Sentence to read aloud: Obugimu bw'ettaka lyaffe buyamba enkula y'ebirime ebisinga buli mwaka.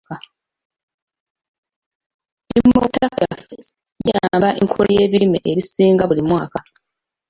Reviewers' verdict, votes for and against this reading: rejected, 1, 2